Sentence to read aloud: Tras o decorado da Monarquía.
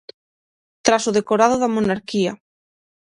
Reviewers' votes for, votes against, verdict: 6, 0, accepted